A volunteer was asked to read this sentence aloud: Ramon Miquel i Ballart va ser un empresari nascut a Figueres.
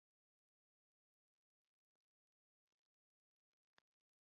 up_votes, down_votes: 0, 2